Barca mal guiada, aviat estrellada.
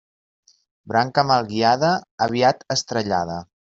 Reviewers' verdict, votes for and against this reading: rejected, 1, 2